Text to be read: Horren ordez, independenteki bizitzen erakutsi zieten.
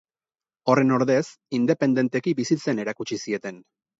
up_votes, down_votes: 4, 0